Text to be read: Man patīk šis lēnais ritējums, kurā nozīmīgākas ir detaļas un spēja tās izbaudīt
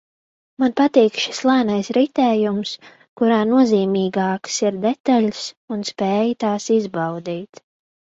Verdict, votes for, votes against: accepted, 2, 1